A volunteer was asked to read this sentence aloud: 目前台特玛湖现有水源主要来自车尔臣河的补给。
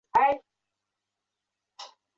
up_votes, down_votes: 0, 4